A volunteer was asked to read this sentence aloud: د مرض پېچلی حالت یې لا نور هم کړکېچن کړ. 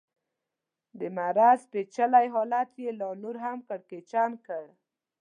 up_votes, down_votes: 2, 0